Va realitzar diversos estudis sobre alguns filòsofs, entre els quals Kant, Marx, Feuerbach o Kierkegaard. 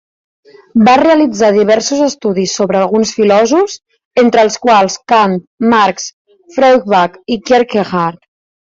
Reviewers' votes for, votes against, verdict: 2, 0, accepted